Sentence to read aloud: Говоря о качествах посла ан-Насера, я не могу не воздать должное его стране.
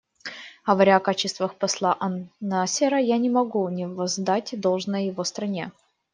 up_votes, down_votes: 1, 2